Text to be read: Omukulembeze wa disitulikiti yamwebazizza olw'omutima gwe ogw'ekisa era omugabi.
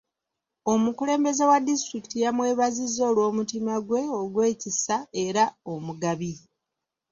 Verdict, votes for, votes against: accepted, 2, 0